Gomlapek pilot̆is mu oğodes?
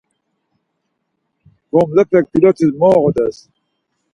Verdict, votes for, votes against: accepted, 4, 0